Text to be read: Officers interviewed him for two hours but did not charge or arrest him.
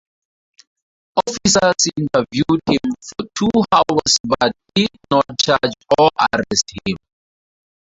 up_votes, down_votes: 4, 2